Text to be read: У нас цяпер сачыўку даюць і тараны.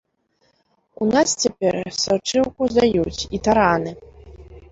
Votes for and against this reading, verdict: 0, 2, rejected